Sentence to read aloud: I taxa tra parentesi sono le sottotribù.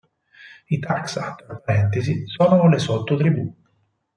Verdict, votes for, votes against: rejected, 0, 4